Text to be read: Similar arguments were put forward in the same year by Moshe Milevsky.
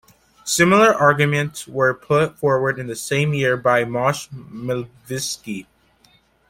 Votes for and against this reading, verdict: 2, 1, accepted